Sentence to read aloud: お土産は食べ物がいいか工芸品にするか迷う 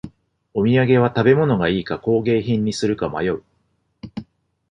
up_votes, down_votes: 2, 0